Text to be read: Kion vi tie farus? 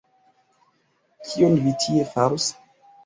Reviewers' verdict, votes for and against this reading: rejected, 1, 2